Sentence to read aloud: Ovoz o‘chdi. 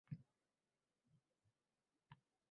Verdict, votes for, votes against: rejected, 0, 2